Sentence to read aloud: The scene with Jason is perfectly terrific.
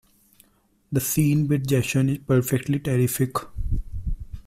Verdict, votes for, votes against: accepted, 2, 1